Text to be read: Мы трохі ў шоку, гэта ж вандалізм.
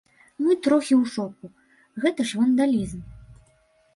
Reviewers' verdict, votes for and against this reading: accepted, 2, 0